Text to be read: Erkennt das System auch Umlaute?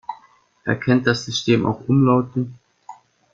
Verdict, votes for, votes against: rejected, 0, 2